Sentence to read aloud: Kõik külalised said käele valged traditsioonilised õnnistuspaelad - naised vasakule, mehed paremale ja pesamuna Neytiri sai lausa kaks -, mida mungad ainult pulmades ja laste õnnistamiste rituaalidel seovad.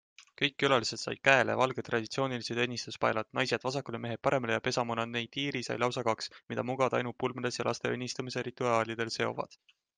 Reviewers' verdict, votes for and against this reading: accepted, 2, 0